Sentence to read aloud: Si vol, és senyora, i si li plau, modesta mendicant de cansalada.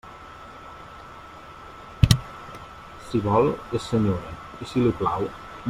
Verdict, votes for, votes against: rejected, 0, 2